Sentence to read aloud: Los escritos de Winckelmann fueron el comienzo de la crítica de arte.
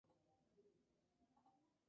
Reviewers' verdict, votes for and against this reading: rejected, 0, 2